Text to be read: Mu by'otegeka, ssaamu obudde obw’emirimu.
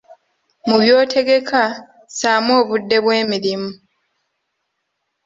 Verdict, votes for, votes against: rejected, 1, 2